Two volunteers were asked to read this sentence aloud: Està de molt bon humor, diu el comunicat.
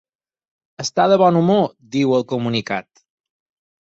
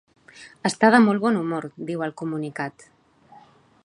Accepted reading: second